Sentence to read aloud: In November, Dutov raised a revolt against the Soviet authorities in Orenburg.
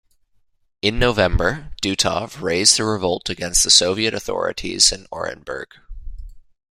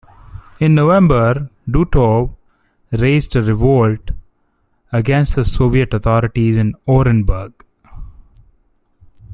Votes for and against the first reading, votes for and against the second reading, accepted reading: 2, 0, 1, 2, first